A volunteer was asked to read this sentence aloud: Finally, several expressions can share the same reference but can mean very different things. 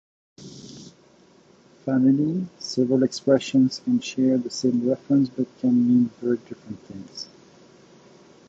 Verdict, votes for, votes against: accepted, 2, 1